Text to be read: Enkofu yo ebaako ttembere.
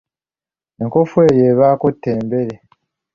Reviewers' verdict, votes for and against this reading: accepted, 2, 0